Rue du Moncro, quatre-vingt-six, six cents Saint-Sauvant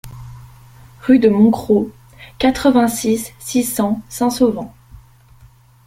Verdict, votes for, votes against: rejected, 0, 2